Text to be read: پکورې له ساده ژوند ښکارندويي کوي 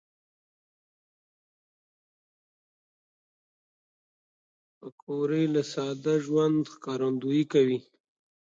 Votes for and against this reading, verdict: 1, 2, rejected